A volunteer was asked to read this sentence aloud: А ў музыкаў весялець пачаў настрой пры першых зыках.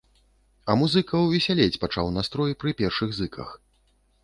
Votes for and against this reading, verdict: 1, 2, rejected